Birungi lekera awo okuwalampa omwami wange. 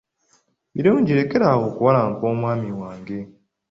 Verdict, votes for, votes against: accepted, 2, 0